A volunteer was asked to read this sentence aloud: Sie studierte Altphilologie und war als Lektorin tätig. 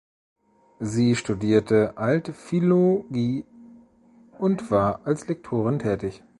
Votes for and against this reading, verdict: 0, 2, rejected